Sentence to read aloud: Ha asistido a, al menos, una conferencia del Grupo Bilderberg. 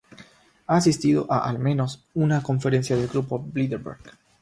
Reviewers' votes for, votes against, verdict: 0, 3, rejected